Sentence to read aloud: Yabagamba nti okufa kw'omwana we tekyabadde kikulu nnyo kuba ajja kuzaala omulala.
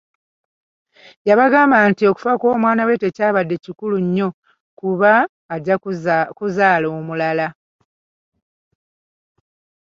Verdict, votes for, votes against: accepted, 2, 1